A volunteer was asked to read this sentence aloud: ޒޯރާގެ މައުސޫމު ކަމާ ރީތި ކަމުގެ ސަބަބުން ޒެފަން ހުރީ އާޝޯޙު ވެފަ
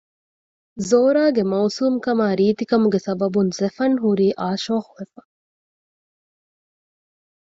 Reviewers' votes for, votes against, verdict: 2, 0, accepted